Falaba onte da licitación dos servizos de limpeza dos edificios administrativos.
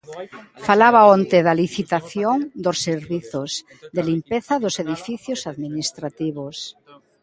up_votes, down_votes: 1, 2